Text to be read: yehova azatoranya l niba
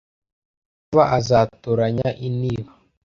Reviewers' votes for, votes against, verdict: 0, 2, rejected